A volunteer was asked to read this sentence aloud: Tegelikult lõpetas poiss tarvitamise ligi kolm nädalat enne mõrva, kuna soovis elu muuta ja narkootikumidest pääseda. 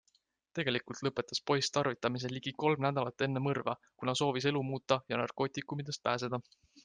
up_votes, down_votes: 2, 0